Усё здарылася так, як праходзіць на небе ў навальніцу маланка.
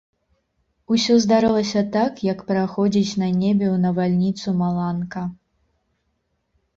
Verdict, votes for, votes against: accepted, 2, 0